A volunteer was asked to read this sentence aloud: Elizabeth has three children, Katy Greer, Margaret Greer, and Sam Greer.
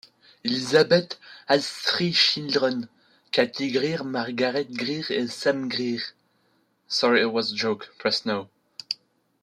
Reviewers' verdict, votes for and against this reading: rejected, 0, 2